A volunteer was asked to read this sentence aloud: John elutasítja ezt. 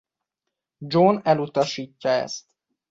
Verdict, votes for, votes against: accepted, 3, 0